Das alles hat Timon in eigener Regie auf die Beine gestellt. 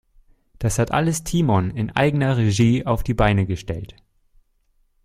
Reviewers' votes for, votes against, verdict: 0, 2, rejected